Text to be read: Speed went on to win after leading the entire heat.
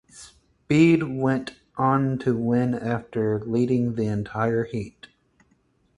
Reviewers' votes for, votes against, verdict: 4, 0, accepted